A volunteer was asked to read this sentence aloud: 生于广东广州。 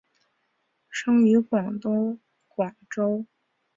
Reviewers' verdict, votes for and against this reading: accepted, 2, 1